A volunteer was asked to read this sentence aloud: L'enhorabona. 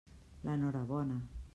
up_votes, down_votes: 2, 0